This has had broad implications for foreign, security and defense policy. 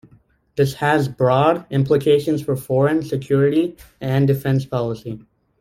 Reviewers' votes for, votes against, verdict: 0, 2, rejected